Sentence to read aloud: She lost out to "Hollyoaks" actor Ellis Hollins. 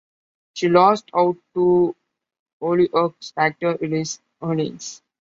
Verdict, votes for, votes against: accepted, 2, 0